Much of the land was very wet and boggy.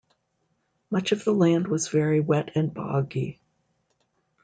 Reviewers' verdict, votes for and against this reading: accepted, 2, 0